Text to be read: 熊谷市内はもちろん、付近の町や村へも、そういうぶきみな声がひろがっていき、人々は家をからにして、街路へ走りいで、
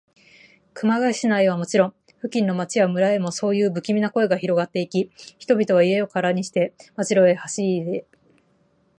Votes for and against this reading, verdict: 6, 1, accepted